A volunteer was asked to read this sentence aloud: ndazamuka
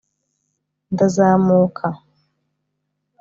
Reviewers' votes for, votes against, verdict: 3, 0, accepted